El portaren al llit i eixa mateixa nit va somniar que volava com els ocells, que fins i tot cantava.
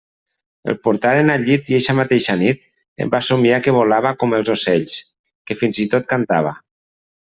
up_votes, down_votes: 0, 2